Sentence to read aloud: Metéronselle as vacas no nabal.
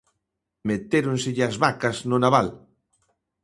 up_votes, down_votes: 2, 0